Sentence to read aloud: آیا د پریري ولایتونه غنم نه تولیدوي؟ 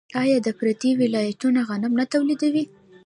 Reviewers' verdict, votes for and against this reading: rejected, 0, 2